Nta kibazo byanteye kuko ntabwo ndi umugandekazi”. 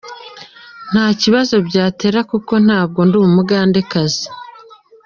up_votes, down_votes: 2, 1